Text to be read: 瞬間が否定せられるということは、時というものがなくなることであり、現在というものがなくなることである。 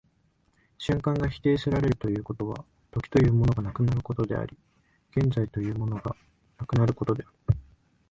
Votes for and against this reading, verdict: 0, 2, rejected